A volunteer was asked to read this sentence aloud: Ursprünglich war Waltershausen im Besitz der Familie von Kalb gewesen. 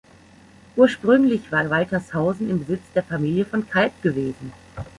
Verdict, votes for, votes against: accepted, 2, 0